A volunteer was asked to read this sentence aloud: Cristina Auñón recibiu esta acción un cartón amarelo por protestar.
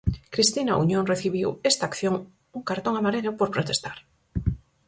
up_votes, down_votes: 4, 0